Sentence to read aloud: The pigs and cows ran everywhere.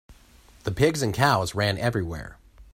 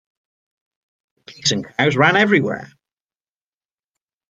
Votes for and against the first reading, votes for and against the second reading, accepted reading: 2, 0, 0, 2, first